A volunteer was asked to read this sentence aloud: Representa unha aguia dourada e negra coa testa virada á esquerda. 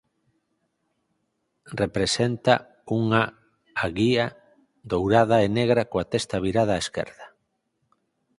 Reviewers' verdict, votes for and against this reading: rejected, 2, 4